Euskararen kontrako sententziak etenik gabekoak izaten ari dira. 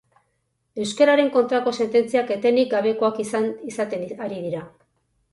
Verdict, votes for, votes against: rejected, 2, 4